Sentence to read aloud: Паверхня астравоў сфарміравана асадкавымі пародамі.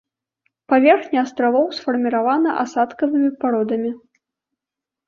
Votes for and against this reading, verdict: 2, 0, accepted